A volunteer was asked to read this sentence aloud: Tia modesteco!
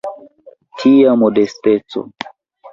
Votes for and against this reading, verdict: 0, 2, rejected